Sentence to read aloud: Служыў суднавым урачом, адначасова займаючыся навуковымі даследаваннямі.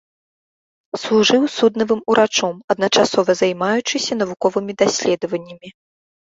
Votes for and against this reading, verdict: 2, 0, accepted